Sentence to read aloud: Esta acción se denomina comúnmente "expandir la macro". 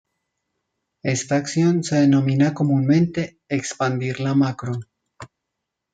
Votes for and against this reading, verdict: 2, 0, accepted